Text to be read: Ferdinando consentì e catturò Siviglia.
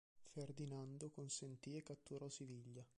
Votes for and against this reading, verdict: 1, 2, rejected